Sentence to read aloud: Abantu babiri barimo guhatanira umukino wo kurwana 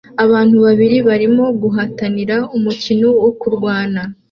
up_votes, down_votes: 2, 0